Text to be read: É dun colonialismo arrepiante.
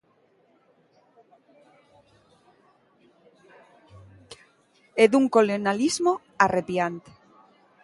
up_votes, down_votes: 1, 2